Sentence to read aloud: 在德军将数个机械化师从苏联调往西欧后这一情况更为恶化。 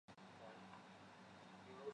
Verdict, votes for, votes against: rejected, 0, 2